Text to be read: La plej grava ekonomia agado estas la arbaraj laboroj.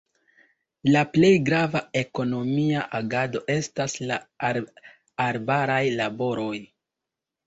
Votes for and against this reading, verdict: 2, 0, accepted